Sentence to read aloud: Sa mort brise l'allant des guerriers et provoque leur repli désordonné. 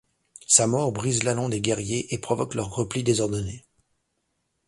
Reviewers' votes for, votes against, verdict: 2, 0, accepted